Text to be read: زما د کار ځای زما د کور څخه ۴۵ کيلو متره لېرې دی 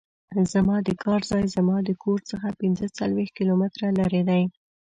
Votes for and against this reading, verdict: 0, 2, rejected